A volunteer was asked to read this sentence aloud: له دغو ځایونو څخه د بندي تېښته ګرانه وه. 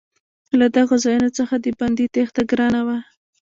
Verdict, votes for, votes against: accepted, 2, 1